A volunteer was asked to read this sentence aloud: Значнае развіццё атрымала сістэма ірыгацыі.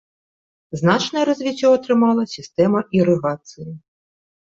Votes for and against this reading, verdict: 2, 0, accepted